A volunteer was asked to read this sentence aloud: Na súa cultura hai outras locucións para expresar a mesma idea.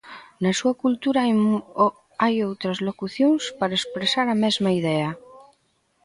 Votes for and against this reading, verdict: 0, 2, rejected